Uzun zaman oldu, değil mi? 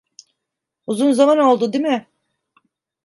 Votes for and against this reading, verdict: 1, 2, rejected